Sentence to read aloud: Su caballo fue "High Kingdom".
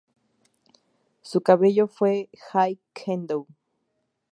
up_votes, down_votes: 0, 2